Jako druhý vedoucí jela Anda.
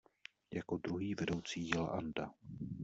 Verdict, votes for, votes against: accepted, 2, 0